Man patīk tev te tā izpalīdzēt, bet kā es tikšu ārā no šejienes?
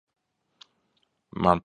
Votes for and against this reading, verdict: 0, 2, rejected